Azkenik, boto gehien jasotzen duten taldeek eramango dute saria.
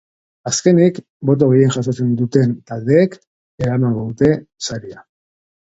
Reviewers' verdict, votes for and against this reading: accepted, 2, 0